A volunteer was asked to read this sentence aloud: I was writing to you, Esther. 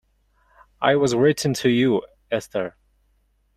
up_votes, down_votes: 0, 2